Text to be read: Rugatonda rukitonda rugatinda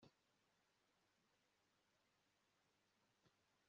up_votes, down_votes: 0, 2